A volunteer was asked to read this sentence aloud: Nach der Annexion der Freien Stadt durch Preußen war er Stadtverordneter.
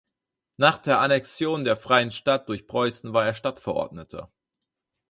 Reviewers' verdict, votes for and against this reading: accepted, 4, 0